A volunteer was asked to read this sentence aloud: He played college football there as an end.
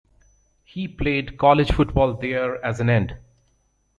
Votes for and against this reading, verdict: 2, 0, accepted